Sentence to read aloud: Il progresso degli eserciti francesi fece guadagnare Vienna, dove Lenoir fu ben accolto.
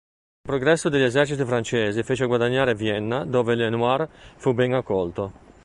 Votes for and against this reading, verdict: 1, 2, rejected